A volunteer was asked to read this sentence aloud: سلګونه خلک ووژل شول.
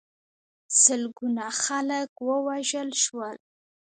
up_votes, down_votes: 1, 2